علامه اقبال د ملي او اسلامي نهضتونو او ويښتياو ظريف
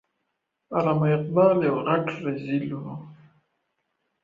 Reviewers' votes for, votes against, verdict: 0, 2, rejected